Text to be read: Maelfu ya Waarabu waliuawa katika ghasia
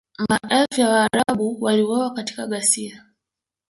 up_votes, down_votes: 2, 0